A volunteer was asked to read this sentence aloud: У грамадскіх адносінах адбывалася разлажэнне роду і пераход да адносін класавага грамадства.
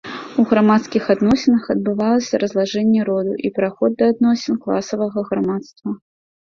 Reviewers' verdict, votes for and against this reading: accepted, 2, 0